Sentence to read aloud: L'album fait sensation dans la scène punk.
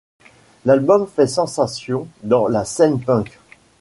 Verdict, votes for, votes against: accepted, 2, 0